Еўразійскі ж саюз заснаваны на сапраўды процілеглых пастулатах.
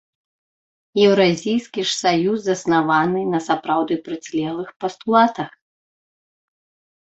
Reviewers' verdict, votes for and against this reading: rejected, 0, 2